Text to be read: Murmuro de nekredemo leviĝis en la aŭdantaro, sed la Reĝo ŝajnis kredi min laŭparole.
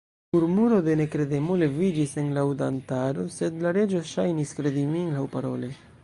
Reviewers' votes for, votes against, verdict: 0, 2, rejected